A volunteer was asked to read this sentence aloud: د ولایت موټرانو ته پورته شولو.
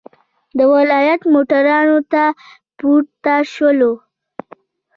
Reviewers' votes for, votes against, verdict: 0, 2, rejected